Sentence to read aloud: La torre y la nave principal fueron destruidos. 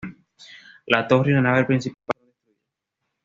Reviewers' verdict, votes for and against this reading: rejected, 1, 2